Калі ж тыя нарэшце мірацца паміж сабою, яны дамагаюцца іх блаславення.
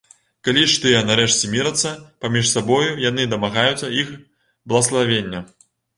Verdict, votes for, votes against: accepted, 2, 0